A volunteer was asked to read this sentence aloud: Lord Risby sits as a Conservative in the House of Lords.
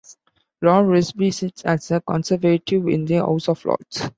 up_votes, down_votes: 2, 1